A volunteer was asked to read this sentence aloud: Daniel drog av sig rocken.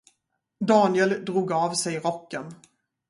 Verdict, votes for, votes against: rejected, 2, 2